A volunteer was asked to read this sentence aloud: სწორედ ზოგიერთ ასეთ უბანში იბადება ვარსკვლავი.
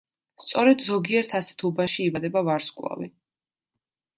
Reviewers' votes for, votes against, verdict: 2, 0, accepted